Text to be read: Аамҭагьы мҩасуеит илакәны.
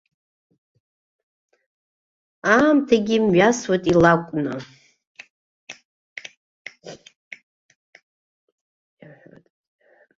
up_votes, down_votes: 1, 2